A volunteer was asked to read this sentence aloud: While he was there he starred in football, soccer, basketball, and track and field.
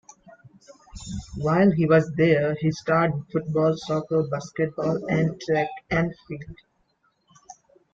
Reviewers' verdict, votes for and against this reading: accepted, 2, 1